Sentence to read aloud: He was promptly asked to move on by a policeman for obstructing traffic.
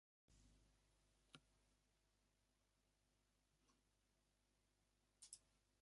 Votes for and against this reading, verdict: 0, 2, rejected